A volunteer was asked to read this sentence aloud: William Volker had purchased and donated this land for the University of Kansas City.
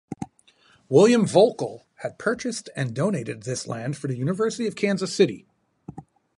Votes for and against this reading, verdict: 2, 2, rejected